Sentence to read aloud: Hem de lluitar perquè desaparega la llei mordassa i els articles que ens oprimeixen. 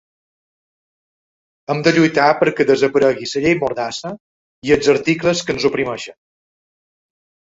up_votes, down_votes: 2, 0